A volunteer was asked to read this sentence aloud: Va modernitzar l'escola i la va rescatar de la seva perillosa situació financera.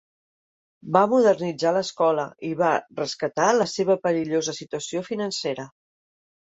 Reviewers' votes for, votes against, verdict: 1, 2, rejected